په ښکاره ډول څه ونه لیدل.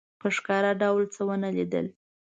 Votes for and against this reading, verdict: 2, 0, accepted